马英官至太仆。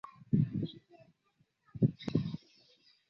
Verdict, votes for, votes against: rejected, 1, 2